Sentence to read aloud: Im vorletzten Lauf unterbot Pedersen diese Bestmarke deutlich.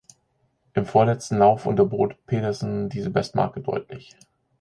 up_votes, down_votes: 2, 0